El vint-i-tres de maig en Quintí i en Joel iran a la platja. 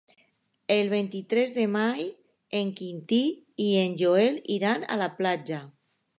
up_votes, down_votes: 0, 2